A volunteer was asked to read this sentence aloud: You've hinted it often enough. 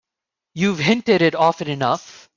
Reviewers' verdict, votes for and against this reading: accepted, 2, 0